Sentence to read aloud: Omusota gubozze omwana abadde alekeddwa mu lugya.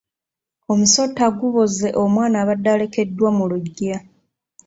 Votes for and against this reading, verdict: 0, 2, rejected